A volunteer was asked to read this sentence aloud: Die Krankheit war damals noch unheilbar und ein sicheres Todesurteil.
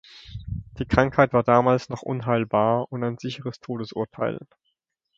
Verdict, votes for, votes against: accepted, 2, 0